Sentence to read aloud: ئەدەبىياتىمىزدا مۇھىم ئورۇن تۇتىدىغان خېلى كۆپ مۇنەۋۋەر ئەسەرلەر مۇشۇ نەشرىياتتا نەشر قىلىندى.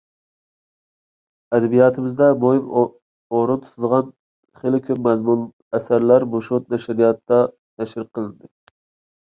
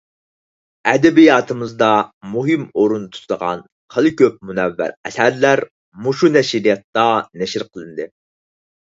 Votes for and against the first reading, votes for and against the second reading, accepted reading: 1, 2, 4, 0, second